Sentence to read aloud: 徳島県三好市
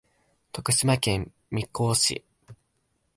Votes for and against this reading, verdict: 0, 2, rejected